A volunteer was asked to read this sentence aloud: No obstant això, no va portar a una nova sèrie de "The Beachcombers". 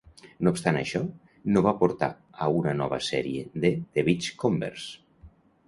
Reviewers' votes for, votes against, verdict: 2, 0, accepted